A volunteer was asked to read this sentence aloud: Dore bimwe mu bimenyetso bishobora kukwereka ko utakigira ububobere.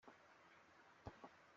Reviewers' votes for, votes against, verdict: 0, 2, rejected